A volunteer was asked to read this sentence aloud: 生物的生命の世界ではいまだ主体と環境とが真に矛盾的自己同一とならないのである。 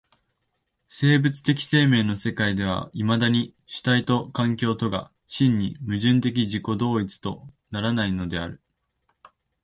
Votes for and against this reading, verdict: 2, 1, accepted